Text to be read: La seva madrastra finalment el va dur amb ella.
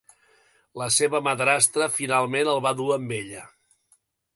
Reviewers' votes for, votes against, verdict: 2, 0, accepted